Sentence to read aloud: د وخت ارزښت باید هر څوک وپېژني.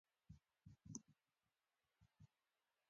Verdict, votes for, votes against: accepted, 2, 0